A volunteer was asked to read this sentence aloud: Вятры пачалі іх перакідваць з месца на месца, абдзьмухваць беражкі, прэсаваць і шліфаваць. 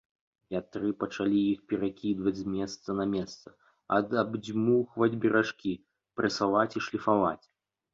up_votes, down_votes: 1, 2